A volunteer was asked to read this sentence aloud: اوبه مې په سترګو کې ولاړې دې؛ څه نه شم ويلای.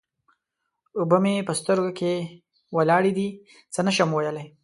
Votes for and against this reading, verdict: 2, 0, accepted